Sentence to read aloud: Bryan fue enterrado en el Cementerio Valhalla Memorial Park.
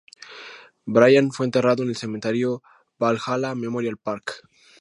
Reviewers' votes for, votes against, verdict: 2, 0, accepted